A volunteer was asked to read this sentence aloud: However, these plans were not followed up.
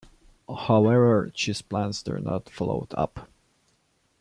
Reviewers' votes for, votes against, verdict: 0, 2, rejected